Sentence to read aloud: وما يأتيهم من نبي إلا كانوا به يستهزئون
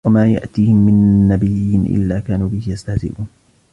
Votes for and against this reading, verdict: 2, 0, accepted